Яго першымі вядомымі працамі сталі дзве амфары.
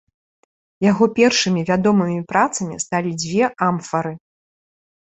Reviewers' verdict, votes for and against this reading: accepted, 2, 0